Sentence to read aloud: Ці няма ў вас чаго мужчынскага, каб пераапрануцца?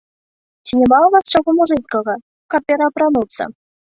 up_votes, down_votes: 0, 2